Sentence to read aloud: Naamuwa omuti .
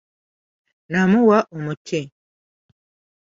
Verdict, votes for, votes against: accepted, 2, 0